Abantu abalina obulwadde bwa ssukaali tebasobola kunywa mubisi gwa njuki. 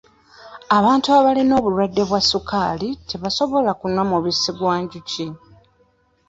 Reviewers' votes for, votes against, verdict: 2, 0, accepted